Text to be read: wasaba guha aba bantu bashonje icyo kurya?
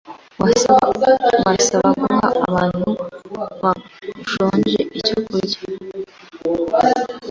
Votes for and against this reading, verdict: 1, 2, rejected